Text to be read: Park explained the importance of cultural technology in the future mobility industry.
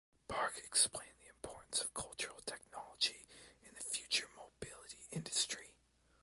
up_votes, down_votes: 0, 2